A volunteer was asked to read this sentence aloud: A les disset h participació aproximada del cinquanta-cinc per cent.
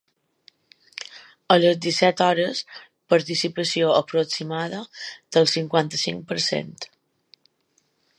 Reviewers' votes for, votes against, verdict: 1, 2, rejected